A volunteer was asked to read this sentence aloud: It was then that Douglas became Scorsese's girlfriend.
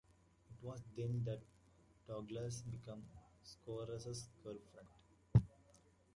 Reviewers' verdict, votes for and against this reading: rejected, 0, 2